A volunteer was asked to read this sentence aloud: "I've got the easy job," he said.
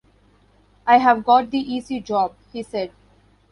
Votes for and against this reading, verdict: 0, 3, rejected